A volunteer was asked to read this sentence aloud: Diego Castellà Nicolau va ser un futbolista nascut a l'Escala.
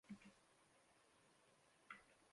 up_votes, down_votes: 0, 3